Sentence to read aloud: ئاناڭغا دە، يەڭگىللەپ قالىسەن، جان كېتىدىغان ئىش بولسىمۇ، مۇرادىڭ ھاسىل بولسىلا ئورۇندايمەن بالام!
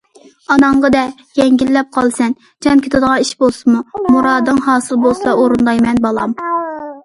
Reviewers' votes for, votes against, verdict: 2, 0, accepted